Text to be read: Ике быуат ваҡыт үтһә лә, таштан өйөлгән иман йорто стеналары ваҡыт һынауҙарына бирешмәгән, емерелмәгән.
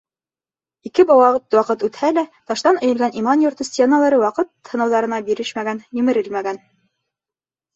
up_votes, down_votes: 1, 2